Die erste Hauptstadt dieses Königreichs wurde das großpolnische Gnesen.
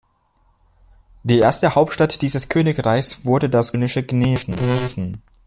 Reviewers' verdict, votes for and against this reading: rejected, 0, 2